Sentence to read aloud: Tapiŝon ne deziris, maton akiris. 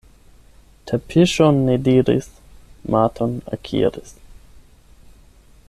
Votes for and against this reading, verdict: 0, 8, rejected